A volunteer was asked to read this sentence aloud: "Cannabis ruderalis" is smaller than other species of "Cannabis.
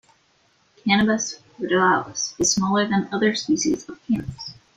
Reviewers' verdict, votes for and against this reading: accepted, 2, 0